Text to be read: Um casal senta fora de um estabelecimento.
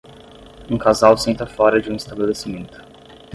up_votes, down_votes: 5, 5